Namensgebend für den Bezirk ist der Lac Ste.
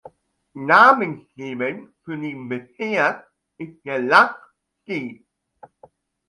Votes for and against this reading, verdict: 2, 0, accepted